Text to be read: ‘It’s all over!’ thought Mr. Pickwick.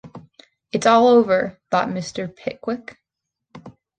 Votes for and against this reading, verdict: 2, 0, accepted